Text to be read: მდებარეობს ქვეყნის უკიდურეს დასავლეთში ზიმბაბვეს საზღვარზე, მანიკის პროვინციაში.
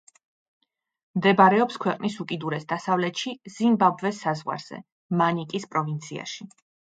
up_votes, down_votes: 2, 0